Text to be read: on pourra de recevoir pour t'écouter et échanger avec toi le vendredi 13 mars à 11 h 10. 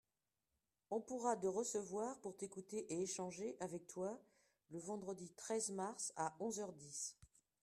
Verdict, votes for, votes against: rejected, 0, 2